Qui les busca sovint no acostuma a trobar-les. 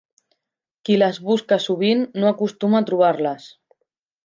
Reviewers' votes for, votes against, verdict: 4, 0, accepted